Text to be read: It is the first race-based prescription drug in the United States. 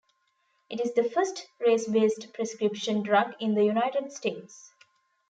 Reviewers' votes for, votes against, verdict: 3, 0, accepted